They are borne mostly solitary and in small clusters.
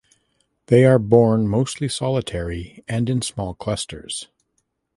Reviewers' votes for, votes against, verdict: 2, 0, accepted